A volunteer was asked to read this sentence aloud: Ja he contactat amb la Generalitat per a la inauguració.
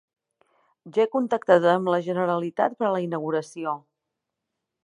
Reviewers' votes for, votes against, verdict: 2, 0, accepted